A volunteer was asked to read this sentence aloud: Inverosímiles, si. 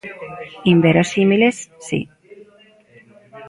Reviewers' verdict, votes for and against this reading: rejected, 0, 2